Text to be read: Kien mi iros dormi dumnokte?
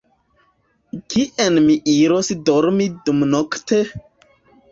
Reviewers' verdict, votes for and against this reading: rejected, 1, 2